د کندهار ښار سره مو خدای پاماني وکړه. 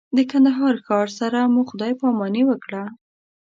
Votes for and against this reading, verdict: 2, 0, accepted